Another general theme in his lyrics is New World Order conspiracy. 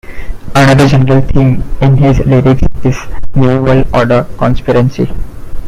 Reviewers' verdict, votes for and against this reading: rejected, 0, 2